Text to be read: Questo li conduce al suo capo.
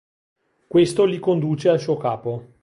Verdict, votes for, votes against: accepted, 2, 0